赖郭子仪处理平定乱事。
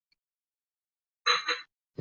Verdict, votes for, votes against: rejected, 0, 2